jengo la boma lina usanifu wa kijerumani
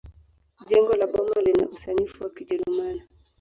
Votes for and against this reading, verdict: 1, 2, rejected